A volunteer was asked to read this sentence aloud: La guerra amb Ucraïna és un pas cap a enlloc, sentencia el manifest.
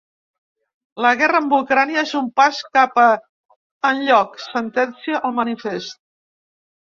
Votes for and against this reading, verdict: 1, 2, rejected